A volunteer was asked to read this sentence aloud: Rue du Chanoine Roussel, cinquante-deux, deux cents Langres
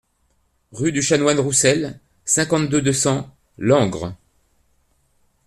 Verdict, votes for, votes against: accepted, 2, 0